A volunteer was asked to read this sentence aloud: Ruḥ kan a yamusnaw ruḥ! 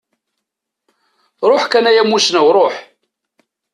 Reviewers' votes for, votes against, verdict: 2, 0, accepted